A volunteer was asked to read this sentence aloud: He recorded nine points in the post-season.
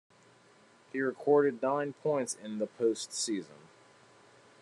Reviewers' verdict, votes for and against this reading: accepted, 2, 0